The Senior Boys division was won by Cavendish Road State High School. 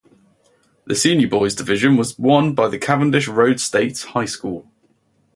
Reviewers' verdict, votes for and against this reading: accepted, 4, 0